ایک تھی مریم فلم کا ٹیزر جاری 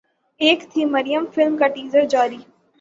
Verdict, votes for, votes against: rejected, 3, 3